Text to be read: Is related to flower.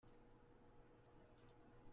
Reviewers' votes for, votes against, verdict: 0, 2, rejected